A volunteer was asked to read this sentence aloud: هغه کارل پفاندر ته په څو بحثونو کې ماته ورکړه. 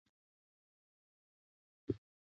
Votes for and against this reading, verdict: 1, 2, rejected